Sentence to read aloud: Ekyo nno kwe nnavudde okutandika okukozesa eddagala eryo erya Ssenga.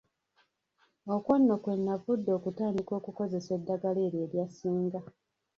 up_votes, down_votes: 0, 2